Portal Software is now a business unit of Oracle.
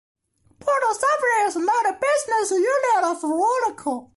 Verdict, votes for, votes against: rejected, 0, 2